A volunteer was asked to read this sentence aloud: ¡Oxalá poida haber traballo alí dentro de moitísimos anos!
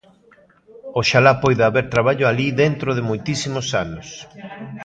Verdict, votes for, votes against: rejected, 1, 2